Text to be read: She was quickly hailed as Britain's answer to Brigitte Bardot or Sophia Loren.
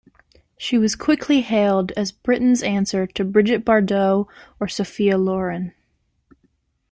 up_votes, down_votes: 2, 0